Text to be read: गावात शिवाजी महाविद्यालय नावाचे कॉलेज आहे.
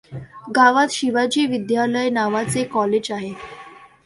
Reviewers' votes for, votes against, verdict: 1, 2, rejected